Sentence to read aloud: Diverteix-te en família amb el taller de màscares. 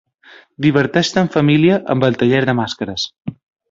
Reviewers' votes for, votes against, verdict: 2, 1, accepted